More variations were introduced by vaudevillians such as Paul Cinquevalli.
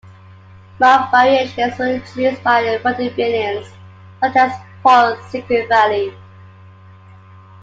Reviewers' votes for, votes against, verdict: 3, 1, accepted